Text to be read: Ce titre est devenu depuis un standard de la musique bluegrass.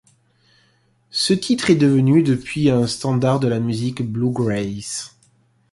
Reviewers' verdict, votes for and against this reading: accepted, 2, 0